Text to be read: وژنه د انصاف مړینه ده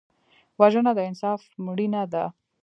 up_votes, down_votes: 2, 0